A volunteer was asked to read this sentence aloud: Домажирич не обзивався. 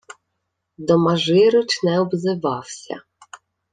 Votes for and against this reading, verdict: 2, 0, accepted